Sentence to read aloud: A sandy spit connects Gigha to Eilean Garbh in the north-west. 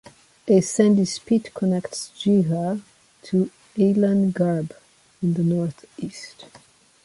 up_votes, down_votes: 1, 2